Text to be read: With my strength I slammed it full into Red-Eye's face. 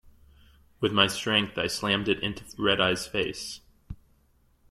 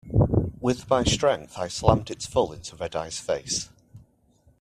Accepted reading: second